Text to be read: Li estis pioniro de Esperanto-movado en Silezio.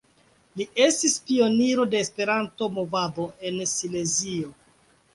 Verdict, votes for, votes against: accepted, 2, 1